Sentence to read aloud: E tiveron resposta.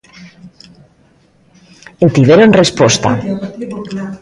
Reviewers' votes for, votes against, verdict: 1, 2, rejected